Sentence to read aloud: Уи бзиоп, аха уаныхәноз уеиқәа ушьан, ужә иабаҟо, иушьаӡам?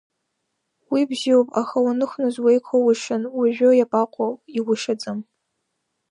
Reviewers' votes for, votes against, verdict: 1, 2, rejected